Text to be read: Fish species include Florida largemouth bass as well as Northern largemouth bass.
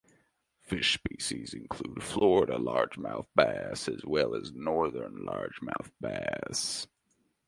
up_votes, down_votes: 2, 0